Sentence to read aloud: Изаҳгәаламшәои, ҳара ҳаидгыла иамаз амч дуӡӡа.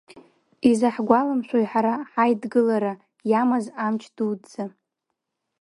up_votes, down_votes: 1, 2